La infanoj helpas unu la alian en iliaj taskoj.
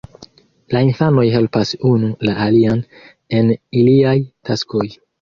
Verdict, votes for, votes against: accepted, 2, 0